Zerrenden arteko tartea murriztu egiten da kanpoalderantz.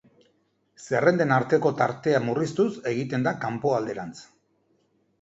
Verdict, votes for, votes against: rejected, 1, 2